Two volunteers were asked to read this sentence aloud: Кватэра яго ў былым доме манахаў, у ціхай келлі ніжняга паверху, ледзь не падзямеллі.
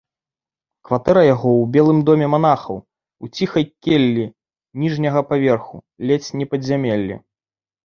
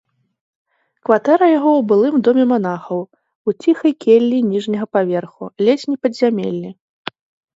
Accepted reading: second